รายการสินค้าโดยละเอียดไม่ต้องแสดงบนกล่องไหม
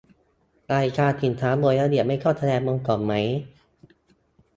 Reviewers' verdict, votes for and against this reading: rejected, 0, 2